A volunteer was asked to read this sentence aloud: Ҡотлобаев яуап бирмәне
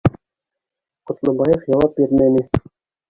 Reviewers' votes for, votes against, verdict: 1, 2, rejected